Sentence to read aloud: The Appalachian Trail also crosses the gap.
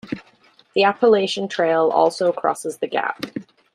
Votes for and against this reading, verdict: 2, 0, accepted